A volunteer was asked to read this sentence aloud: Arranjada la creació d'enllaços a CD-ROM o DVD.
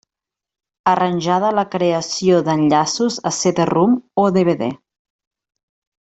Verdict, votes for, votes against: accepted, 2, 0